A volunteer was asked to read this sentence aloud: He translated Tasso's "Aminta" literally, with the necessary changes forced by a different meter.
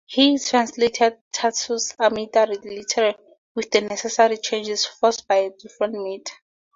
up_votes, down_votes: 2, 0